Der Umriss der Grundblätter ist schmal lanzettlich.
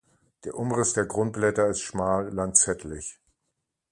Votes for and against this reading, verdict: 2, 0, accepted